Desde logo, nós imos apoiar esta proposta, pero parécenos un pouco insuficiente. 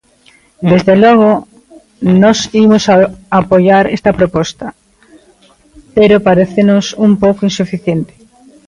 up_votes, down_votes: 1, 2